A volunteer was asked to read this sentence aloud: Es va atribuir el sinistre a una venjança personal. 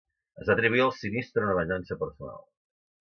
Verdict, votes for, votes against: rejected, 0, 2